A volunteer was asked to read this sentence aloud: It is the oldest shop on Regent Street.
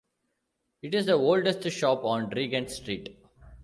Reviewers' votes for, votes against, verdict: 2, 0, accepted